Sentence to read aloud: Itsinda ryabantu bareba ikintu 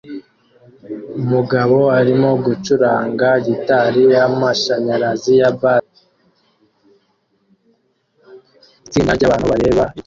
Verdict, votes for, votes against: rejected, 1, 2